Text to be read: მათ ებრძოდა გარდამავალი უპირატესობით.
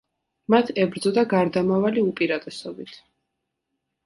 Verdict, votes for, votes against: accepted, 2, 0